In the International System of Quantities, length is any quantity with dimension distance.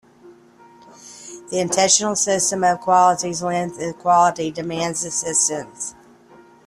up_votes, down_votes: 0, 2